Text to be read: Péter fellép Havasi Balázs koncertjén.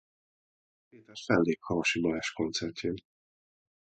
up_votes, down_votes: 0, 2